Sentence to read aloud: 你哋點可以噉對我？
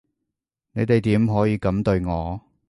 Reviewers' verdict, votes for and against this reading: accepted, 2, 0